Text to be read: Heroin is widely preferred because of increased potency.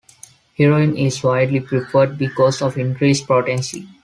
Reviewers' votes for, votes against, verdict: 2, 0, accepted